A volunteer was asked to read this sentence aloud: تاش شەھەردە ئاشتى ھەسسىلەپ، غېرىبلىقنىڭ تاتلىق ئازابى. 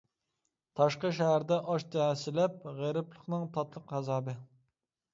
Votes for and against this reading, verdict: 0, 2, rejected